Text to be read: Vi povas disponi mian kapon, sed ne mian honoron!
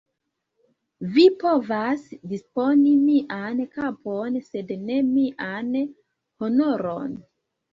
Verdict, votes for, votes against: rejected, 1, 2